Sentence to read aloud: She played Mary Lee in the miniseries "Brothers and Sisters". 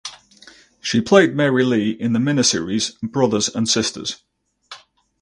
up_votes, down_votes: 2, 2